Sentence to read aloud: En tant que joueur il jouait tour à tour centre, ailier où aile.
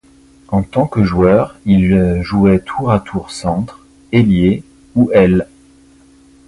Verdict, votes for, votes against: rejected, 0, 2